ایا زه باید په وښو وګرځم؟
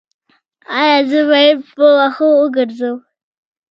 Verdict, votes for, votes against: accepted, 2, 0